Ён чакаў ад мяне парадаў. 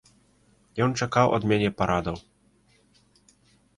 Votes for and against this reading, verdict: 2, 0, accepted